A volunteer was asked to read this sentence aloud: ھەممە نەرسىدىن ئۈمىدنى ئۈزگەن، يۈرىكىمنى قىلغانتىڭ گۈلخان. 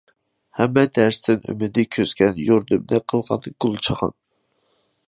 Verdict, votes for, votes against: rejected, 0, 2